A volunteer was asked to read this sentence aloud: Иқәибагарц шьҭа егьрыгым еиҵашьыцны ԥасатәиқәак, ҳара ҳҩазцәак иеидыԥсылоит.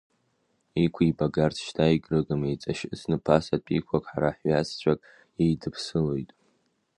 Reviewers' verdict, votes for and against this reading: rejected, 0, 2